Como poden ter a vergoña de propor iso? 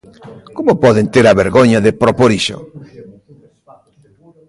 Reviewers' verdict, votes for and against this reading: rejected, 1, 2